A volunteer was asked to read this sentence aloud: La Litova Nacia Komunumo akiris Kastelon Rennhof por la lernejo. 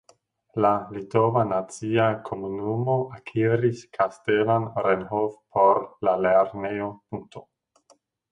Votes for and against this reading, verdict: 0, 2, rejected